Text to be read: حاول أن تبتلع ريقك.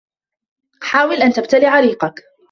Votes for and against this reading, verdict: 2, 1, accepted